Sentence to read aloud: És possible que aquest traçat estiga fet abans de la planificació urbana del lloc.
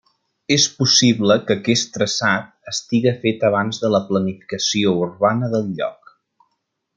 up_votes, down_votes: 3, 0